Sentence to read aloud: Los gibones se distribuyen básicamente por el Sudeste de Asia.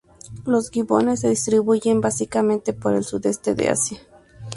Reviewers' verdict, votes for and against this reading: accepted, 4, 0